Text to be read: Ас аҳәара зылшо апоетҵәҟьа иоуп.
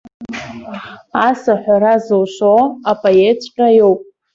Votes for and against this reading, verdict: 2, 0, accepted